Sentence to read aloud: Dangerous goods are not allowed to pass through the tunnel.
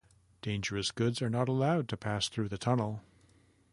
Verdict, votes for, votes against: accepted, 2, 0